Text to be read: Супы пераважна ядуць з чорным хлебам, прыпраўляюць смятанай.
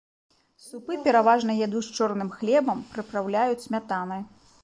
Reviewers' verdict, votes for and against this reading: accepted, 2, 0